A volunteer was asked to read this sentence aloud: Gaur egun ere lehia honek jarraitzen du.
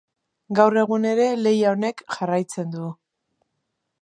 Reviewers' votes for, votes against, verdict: 2, 0, accepted